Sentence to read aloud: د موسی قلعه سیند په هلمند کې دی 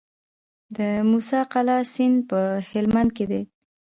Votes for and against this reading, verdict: 3, 0, accepted